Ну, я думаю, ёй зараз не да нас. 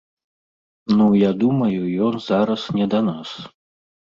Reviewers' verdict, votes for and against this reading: rejected, 0, 2